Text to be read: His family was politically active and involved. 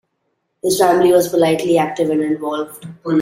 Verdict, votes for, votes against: rejected, 0, 2